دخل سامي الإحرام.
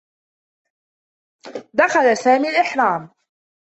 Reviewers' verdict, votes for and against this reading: accepted, 2, 0